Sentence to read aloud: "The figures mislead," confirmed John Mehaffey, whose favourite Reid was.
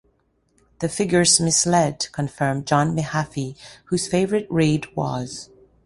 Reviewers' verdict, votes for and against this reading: rejected, 0, 2